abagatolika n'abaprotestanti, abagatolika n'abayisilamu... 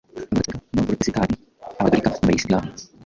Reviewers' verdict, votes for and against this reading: rejected, 1, 2